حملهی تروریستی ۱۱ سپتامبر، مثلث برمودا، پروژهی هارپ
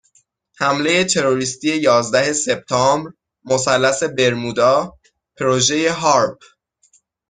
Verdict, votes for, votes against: rejected, 0, 2